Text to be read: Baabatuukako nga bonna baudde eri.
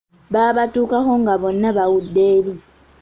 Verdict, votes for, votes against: accepted, 2, 0